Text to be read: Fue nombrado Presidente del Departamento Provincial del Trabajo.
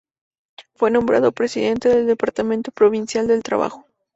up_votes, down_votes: 2, 0